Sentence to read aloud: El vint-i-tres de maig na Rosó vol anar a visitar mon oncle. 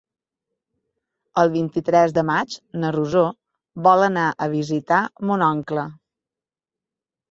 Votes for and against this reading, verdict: 3, 0, accepted